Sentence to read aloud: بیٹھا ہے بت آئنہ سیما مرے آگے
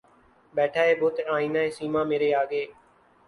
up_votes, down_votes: 2, 0